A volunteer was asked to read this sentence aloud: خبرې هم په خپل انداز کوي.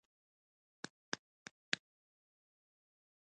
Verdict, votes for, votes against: rejected, 2, 3